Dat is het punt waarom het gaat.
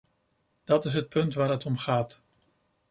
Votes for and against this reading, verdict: 0, 2, rejected